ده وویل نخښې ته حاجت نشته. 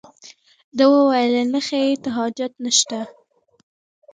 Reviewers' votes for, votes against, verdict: 2, 0, accepted